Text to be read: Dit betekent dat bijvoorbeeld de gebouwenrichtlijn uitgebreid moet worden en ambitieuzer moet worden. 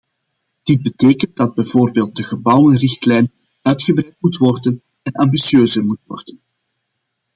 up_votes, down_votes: 2, 0